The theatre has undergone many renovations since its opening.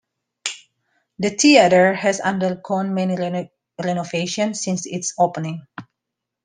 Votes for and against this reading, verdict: 0, 2, rejected